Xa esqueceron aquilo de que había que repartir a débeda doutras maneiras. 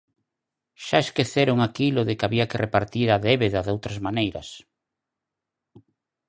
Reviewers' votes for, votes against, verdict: 4, 0, accepted